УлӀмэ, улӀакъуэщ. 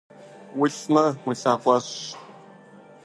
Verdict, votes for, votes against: rejected, 1, 2